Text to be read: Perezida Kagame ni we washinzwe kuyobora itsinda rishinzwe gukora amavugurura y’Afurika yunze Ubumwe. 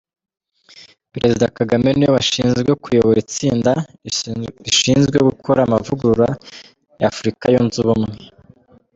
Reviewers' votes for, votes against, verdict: 1, 3, rejected